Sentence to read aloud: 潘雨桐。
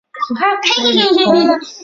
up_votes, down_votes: 1, 3